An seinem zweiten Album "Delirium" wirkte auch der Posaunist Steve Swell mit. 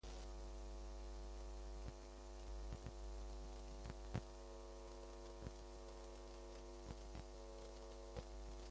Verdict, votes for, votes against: rejected, 0, 2